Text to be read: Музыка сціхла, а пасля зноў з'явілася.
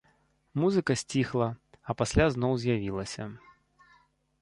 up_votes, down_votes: 2, 0